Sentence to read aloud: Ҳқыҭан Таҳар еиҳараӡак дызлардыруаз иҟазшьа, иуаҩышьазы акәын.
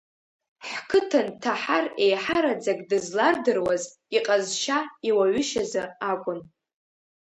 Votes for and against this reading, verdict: 2, 0, accepted